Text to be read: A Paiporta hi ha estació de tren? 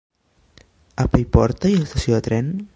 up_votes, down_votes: 1, 2